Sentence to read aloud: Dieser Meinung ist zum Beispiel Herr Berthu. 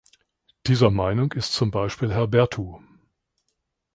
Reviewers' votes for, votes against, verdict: 2, 0, accepted